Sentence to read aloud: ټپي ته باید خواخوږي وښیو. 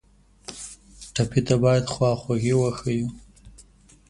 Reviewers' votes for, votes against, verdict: 2, 0, accepted